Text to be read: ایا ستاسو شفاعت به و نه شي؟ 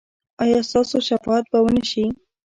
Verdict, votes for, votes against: rejected, 0, 2